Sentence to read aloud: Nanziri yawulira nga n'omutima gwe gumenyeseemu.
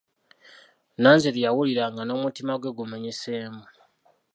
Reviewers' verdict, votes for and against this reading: accepted, 2, 1